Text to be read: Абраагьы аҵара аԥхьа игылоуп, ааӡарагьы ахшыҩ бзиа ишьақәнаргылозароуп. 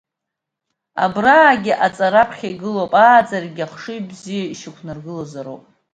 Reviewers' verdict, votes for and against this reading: accepted, 2, 1